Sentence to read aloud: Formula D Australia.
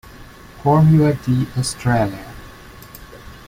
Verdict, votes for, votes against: accepted, 2, 0